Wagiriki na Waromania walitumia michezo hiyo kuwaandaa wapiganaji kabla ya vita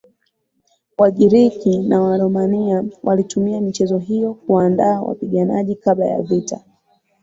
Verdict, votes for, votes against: rejected, 3, 6